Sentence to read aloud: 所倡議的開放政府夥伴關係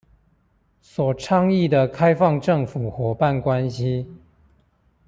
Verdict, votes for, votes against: accepted, 2, 0